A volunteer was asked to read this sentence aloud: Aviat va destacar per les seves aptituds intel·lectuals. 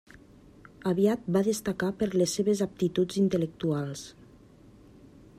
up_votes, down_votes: 1, 2